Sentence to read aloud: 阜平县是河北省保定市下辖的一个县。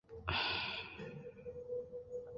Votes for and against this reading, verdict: 0, 3, rejected